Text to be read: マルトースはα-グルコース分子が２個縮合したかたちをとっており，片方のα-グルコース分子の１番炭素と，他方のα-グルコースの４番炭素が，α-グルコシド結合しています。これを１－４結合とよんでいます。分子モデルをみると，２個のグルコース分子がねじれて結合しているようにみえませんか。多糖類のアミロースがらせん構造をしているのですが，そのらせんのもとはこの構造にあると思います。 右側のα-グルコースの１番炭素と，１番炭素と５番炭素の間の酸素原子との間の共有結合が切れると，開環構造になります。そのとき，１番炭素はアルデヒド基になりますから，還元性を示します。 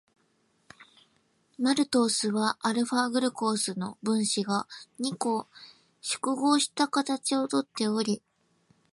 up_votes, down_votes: 0, 2